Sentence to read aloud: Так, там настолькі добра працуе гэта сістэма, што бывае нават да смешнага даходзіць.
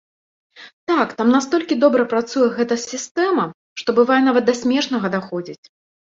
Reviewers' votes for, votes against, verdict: 2, 0, accepted